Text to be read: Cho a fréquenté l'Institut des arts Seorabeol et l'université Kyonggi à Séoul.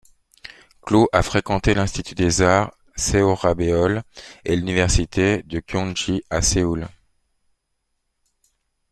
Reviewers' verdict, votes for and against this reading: rejected, 0, 2